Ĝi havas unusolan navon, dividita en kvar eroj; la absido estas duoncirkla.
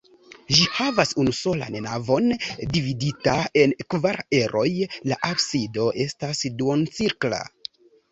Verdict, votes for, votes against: accepted, 3, 0